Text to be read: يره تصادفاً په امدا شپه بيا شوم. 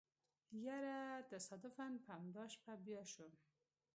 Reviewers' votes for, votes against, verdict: 2, 0, accepted